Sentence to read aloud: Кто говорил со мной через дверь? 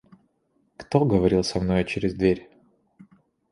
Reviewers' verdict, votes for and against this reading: rejected, 1, 2